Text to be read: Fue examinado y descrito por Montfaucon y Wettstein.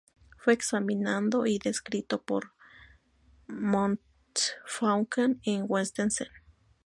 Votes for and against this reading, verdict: 2, 2, rejected